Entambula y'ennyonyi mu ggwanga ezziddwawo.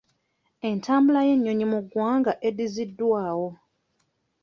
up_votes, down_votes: 0, 2